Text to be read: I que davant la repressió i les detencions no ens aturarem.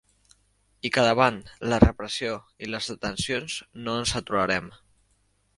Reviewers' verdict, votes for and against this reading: accepted, 3, 0